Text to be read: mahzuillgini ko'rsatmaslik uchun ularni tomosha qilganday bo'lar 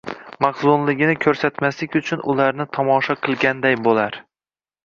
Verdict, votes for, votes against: rejected, 0, 2